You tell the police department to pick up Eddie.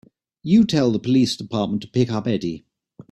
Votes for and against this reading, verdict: 3, 0, accepted